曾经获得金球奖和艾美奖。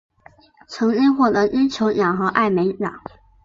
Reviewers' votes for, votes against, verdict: 3, 2, accepted